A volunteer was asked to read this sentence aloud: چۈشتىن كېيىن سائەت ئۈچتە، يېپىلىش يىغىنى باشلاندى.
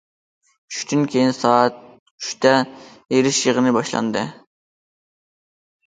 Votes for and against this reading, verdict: 0, 2, rejected